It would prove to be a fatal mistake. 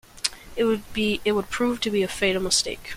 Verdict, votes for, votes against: rejected, 0, 2